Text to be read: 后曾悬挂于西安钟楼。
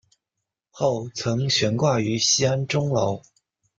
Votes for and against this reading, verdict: 2, 0, accepted